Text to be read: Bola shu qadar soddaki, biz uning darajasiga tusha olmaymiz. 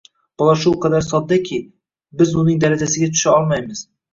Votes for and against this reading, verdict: 2, 0, accepted